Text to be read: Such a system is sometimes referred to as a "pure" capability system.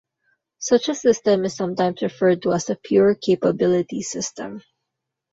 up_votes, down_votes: 2, 0